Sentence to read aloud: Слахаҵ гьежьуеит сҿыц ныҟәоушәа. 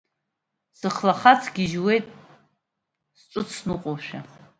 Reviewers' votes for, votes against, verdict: 0, 2, rejected